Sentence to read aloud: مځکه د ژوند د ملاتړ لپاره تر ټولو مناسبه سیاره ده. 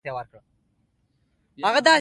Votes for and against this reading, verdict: 3, 2, accepted